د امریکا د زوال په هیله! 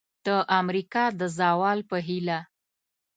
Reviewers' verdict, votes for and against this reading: accepted, 2, 0